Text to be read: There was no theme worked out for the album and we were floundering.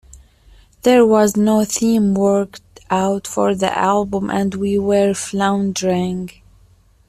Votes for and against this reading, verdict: 2, 0, accepted